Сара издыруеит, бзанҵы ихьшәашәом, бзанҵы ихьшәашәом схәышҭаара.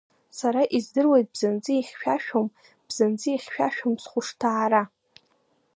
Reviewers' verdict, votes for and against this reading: accepted, 2, 0